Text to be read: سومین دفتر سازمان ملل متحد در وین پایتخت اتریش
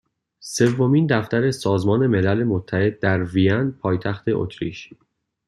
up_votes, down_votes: 2, 0